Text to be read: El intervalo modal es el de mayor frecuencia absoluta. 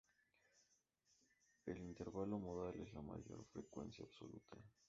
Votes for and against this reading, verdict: 0, 2, rejected